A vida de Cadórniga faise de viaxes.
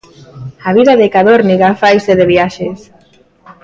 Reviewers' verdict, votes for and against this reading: accepted, 2, 0